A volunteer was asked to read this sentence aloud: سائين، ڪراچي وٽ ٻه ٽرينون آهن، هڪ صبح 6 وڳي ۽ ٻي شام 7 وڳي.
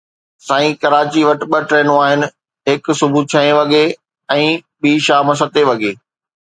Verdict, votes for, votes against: rejected, 0, 2